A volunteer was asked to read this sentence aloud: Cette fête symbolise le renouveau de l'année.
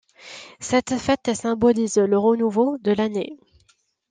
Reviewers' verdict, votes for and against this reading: accepted, 2, 0